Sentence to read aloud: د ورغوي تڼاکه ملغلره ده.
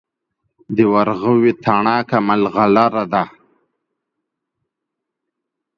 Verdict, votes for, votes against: accepted, 2, 0